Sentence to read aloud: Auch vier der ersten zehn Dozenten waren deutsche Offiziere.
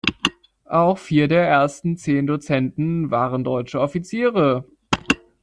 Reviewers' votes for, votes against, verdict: 1, 2, rejected